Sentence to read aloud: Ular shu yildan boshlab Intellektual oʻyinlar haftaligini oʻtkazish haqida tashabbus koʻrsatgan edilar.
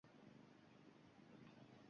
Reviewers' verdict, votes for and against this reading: rejected, 1, 2